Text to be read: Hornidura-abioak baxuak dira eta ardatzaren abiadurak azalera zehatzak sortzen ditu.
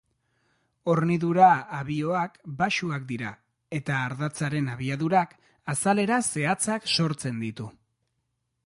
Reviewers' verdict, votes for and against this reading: accepted, 2, 0